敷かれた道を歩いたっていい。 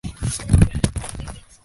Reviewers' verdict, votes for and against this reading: rejected, 11, 28